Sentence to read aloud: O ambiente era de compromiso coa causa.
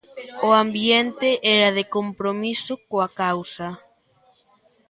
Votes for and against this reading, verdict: 1, 2, rejected